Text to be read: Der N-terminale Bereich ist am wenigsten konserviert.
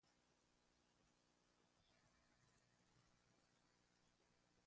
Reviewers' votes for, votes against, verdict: 0, 2, rejected